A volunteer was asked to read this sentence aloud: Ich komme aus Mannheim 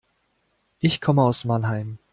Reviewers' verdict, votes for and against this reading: accepted, 2, 0